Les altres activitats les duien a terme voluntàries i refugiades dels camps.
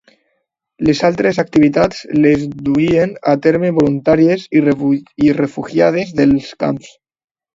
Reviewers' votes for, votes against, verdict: 0, 2, rejected